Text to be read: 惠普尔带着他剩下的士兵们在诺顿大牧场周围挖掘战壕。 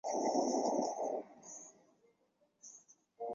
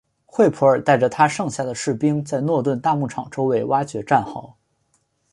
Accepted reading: second